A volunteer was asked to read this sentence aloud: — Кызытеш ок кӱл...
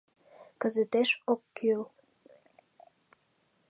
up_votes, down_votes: 2, 0